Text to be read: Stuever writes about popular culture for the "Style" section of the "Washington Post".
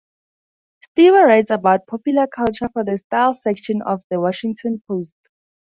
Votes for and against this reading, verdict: 2, 0, accepted